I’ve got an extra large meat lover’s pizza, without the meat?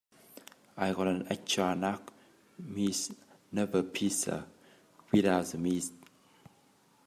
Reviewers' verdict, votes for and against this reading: rejected, 0, 3